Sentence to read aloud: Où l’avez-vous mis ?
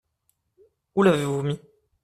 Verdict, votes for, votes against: accepted, 2, 0